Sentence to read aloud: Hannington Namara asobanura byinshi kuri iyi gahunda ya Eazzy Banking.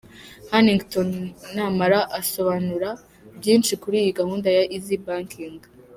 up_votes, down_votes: 2, 0